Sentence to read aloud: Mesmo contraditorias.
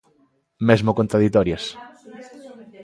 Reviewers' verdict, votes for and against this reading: accepted, 2, 0